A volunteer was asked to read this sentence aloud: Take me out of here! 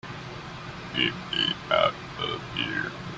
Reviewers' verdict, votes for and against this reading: rejected, 0, 2